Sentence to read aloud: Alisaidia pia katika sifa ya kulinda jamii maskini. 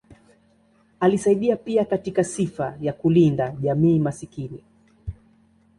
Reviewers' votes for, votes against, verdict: 2, 0, accepted